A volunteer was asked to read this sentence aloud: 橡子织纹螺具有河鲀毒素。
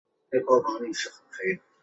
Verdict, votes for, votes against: rejected, 0, 2